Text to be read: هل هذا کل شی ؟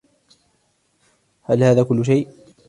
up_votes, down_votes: 2, 1